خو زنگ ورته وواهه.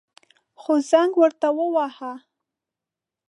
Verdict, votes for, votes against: accepted, 2, 0